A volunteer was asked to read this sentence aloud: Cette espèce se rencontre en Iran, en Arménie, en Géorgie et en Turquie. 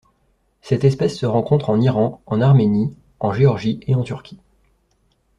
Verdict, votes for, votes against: accepted, 2, 0